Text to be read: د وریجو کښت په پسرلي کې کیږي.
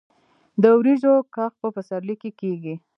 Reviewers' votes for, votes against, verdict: 1, 2, rejected